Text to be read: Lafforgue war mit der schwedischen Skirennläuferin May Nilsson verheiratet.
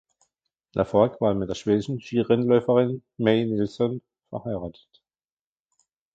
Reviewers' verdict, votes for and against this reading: rejected, 1, 2